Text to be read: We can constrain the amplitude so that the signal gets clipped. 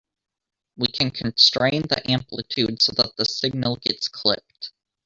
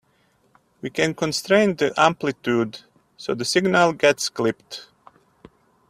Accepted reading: second